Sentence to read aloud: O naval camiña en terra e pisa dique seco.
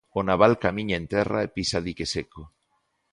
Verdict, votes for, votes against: accepted, 2, 0